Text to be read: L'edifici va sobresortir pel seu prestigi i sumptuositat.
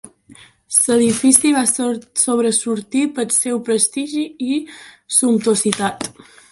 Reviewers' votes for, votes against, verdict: 0, 2, rejected